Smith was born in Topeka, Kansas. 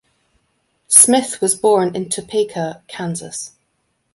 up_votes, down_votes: 2, 0